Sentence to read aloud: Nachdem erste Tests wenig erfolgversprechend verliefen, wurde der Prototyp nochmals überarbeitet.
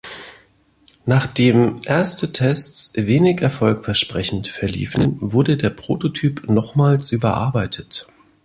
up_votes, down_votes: 2, 0